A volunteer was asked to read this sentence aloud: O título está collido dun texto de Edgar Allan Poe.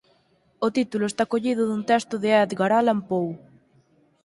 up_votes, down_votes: 4, 0